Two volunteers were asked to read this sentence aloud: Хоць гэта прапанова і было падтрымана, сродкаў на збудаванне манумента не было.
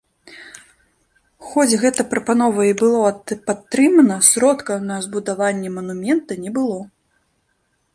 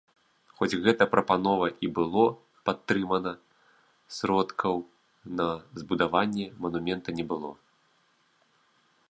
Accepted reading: second